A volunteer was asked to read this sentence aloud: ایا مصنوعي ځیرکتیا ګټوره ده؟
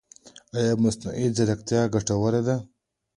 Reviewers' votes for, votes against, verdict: 2, 0, accepted